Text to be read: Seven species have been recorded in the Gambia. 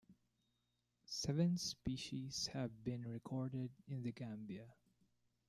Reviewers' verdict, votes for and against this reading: accepted, 2, 0